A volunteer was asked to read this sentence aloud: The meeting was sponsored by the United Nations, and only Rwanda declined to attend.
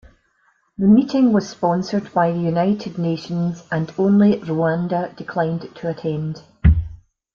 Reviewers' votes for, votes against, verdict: 2, 0, accepted